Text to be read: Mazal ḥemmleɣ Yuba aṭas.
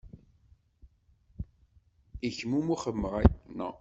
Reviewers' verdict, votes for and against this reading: rejected, 1, 2